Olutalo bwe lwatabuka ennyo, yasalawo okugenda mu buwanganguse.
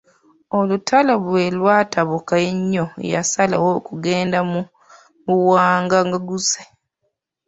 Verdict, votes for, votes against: rejected, 0, 2